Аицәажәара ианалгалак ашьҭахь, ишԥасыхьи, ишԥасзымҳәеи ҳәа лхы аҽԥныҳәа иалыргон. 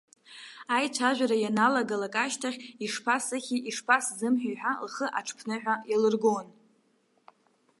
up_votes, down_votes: 2, 0